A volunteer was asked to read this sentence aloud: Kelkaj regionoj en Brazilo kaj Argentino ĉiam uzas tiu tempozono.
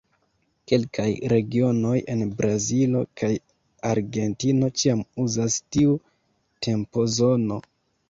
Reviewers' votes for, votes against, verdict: 2, 0, accepted